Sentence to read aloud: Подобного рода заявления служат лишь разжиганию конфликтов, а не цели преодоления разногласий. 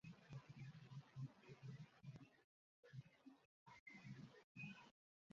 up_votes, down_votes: 0, 2